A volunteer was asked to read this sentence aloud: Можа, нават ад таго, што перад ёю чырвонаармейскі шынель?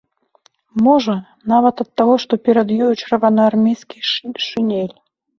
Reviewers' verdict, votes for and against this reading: rejected, 0, 2